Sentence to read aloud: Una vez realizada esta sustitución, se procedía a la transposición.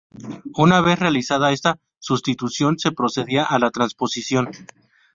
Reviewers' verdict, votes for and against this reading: rejected, 0, 2